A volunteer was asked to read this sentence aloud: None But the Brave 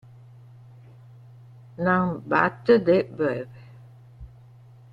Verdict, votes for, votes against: rejected, 0, 2